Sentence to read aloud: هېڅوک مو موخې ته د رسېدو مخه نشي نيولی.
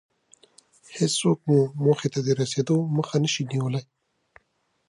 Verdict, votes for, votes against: accepted, 2, 0